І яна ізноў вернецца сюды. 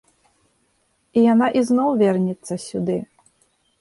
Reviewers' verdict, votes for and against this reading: accepted, 2, 0